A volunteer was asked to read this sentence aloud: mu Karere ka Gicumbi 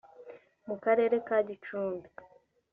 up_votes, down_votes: 2, 0